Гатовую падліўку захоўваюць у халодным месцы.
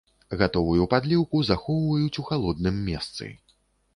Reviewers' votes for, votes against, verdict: 2, 0, accepted